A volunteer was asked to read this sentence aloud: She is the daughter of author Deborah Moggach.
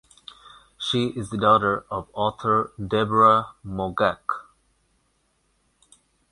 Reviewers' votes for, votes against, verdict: 0, 2, rejected